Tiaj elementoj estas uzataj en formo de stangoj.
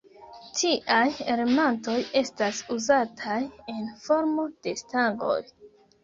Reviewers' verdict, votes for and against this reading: rejected, 1, 2